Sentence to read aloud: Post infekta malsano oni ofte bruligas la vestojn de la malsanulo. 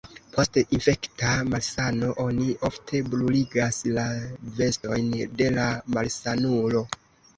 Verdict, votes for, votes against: rejected, 0, 2